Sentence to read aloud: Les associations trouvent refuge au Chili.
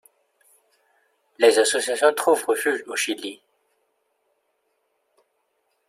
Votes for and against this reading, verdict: 2, 0, accepted